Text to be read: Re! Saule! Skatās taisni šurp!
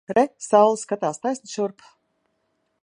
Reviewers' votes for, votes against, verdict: 1, 2, rejected